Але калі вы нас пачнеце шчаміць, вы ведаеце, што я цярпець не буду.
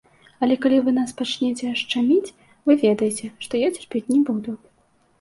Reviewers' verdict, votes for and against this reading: accepted, 2, 0